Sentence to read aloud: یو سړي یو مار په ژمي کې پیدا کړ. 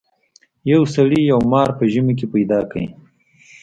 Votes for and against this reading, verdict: 2, 0, accepted